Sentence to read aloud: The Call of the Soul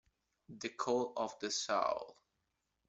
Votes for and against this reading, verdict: 0, 2, rejected